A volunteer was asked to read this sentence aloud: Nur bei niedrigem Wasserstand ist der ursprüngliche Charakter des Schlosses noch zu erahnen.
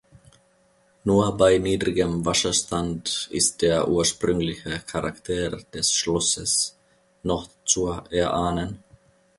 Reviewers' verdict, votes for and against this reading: accepted, 2, 1